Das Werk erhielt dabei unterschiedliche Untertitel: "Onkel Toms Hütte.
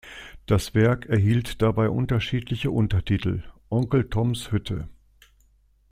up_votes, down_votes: 2, 0